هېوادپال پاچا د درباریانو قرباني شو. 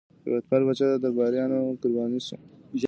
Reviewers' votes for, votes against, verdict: 0, 2, rejected